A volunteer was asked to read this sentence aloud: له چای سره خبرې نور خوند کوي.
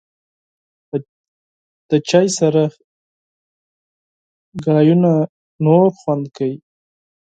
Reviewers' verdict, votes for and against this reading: rejected, 2, 4